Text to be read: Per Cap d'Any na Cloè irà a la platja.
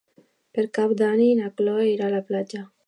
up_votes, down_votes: 0, 2